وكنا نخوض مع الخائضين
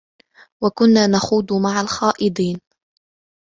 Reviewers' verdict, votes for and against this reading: accepted, 3, 0